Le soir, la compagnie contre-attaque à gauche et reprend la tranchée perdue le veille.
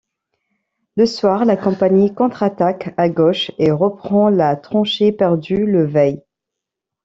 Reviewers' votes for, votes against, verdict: 2, 0, accepted